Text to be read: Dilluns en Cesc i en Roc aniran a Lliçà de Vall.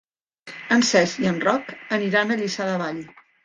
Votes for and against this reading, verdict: 0, 2, rejected